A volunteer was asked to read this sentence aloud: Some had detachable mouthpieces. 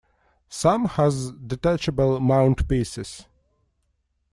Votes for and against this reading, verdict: 1, 2, rejected